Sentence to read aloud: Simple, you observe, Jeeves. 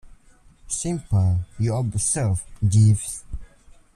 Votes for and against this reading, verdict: 2, 0, accepted